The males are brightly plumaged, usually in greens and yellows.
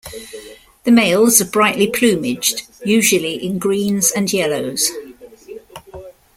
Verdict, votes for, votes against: rejected, 0, 2